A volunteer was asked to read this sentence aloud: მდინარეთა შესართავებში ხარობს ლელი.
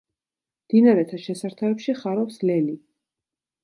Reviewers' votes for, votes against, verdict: 2, 0, accepted